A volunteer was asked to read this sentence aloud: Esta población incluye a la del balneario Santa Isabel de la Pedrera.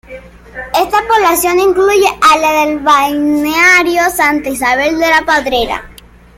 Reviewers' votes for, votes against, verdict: 0, 2, rejected